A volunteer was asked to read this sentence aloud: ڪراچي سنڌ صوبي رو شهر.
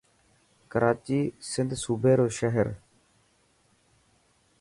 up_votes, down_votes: 3, 0